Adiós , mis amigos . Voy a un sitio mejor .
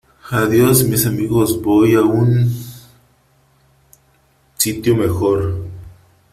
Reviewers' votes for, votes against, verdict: 1, 2, rejected